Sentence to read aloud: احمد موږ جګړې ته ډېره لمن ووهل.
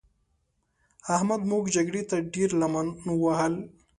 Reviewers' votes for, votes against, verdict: 2, 0, accepted